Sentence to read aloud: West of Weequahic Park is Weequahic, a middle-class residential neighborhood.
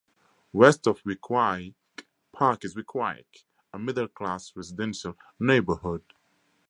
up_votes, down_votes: 4, 0